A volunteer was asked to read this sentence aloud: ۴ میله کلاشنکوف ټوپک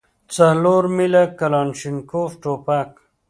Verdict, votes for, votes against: rejected, 0, 2